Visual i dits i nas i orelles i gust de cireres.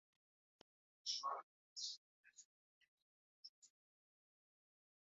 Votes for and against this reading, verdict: 1, 3, rejected